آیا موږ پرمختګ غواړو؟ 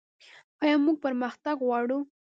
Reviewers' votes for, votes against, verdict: 0, 2, rejected